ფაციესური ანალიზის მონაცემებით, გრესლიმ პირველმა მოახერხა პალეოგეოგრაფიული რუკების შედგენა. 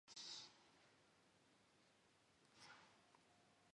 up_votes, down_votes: 1, 2